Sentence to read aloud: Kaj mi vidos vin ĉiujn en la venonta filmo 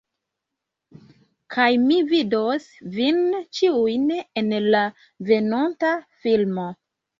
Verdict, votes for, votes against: accepted, 2, 0